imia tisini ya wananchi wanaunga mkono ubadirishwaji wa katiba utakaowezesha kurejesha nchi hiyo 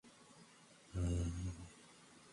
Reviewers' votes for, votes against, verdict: 2, 11, rejected